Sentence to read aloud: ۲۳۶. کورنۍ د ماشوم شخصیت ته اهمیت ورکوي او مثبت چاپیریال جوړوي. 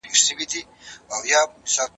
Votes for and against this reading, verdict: 0, 2, rejected